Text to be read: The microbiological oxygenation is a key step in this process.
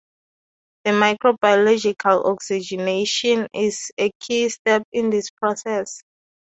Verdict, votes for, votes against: accepted, 2, 0